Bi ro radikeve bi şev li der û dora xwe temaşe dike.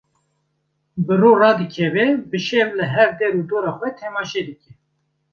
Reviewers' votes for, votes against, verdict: 1, 2, rejected